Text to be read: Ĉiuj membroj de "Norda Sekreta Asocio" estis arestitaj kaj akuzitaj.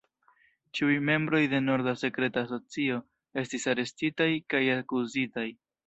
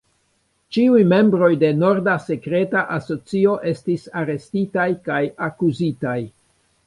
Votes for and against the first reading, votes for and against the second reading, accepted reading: 1, 2, 2, 0, second